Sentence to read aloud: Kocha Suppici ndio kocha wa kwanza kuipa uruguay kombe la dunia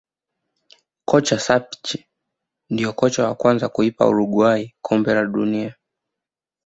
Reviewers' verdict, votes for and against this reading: rejected, 1, 2